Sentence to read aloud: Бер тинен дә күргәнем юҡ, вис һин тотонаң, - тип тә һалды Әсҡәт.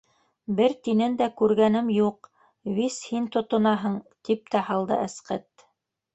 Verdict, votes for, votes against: rejected, 1, 3